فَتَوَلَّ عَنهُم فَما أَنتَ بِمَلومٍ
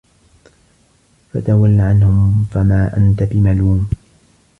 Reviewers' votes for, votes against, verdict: 2, 0, accepted